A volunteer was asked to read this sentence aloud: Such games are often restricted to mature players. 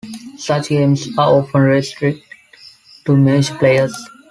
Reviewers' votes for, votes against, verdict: 2, 0, accepted